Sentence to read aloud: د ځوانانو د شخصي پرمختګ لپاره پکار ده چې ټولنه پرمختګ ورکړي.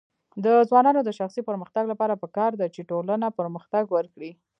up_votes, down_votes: 0, 2